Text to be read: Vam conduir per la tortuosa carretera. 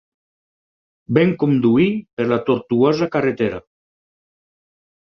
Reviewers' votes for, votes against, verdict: 0, 4, rejected